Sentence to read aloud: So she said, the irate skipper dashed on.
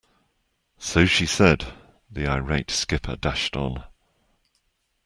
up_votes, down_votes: 2, 0